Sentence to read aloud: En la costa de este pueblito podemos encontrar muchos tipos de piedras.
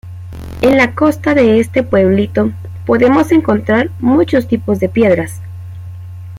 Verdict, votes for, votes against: accepted, 2, 0